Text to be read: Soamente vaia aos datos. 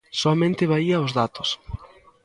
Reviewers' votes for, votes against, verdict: 0, 2, rejected